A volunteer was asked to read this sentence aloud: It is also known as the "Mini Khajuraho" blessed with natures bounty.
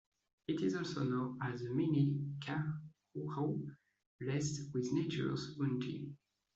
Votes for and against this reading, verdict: 2, 1, accepted